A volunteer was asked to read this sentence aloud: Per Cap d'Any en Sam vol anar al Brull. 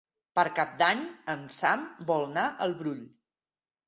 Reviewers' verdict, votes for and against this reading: rejected, 0, 2